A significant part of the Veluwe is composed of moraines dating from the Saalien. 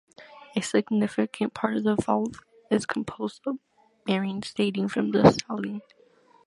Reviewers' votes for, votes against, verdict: 1, 2, rejected